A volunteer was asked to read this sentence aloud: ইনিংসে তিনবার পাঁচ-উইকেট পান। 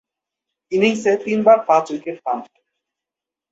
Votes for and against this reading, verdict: 14, 4, accepted